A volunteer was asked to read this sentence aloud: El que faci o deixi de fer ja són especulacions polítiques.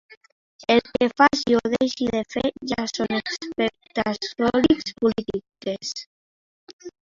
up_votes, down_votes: 0, 2